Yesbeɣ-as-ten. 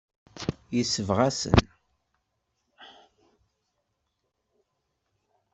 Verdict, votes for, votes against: rejected, 0, 2